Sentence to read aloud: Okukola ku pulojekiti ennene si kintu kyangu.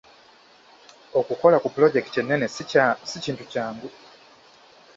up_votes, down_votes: 1, 2